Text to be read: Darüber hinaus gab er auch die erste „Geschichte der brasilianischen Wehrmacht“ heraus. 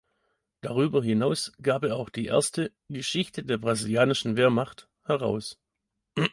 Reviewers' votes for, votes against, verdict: 2, 0, accepted